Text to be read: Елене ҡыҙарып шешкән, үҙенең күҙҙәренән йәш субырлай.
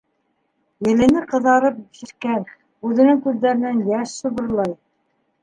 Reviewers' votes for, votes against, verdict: 1, 3, rejected